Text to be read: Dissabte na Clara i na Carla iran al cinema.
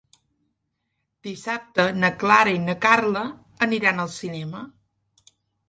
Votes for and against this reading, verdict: 1, 2, rejected